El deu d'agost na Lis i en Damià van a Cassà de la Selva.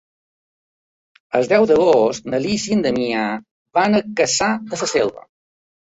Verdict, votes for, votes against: rejected, 1, 2